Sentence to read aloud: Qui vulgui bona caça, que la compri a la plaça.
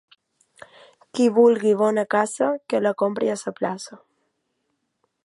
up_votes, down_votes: 2, 1